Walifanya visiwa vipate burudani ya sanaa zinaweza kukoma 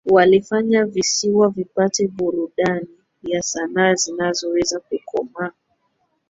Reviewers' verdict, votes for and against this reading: rejected, 1, 2